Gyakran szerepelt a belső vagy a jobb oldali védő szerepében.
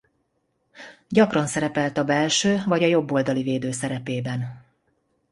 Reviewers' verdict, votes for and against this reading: accepted, 2, 0